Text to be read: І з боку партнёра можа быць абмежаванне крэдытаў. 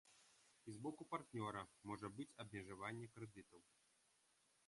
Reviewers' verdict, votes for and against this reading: rejected, 1, 2